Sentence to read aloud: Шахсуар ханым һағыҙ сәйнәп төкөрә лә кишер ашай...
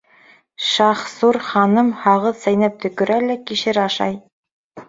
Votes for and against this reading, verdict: 0, 3, rejected